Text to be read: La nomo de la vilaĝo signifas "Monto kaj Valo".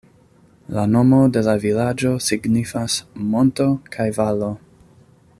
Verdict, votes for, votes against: accepted, 2, 0